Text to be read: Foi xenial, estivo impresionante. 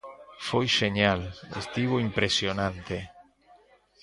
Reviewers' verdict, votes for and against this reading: rejected, 1, 2